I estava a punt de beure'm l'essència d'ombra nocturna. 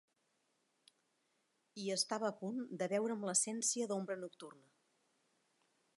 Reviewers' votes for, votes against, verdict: 0, 2, rejected